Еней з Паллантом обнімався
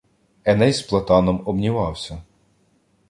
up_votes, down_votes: 1, 2